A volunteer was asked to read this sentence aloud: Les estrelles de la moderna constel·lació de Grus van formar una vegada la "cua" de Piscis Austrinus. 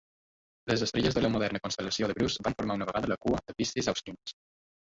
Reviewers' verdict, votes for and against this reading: accepted, 2, 1